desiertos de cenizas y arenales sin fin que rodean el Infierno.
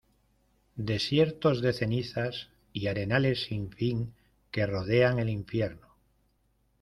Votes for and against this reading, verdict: 2, 0, accepted